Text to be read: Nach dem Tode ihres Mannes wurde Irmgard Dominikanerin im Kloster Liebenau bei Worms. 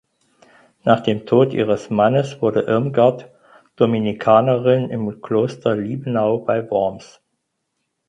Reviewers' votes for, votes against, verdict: 0, 4, rejected